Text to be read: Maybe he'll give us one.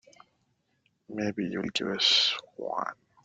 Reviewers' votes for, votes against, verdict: 1, 2, rejected